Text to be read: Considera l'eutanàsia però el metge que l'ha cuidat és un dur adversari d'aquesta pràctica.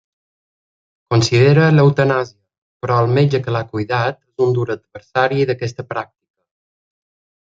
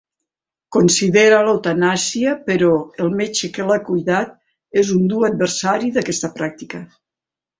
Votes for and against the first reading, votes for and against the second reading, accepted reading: 0, 2, 2, 0, second